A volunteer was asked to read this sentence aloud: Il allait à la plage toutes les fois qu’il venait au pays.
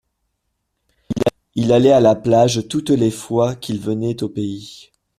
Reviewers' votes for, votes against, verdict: 1, 2, rejected